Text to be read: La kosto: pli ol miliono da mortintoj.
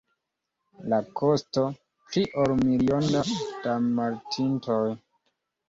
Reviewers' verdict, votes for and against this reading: rejected, 1, 2